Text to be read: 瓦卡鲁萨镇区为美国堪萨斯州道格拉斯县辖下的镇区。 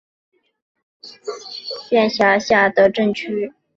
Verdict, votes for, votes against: rejected, 1, 3